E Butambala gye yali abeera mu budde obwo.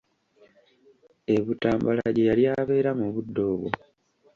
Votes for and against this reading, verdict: 0, 2, rejected